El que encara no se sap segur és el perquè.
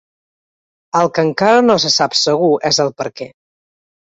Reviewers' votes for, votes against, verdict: 3, 0, accepted